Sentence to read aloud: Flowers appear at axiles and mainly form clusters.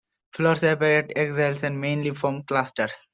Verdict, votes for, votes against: rejected, 0, 2